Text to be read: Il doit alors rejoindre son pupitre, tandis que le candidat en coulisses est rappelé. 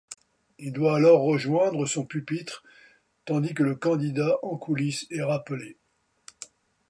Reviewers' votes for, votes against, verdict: 2, 0, accepted